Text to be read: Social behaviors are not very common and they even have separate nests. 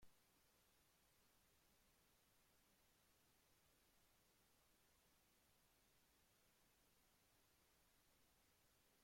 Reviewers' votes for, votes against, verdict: 0, 2, rejected